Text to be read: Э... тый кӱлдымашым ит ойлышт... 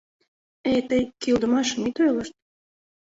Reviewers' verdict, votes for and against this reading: accepted, 2, 0